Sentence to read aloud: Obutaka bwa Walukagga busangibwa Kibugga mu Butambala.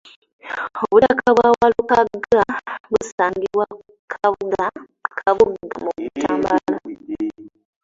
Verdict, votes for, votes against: rejected, 0, 2